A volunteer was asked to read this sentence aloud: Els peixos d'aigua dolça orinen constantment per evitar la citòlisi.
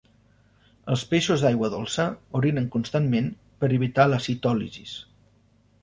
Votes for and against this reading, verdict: 1, 2, rejected